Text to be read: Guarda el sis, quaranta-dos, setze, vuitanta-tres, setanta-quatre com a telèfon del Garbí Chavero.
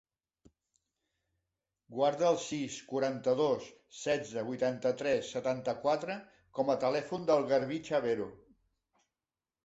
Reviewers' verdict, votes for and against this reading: accepted, 4, 0